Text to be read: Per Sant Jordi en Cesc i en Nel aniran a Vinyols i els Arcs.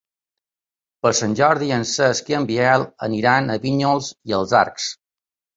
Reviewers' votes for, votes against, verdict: 1, 2, rejected